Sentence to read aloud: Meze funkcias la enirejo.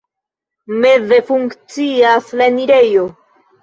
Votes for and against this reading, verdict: 0, 2, rejected